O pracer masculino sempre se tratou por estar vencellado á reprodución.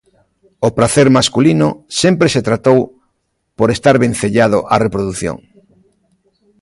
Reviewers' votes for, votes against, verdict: 2, 0, accepted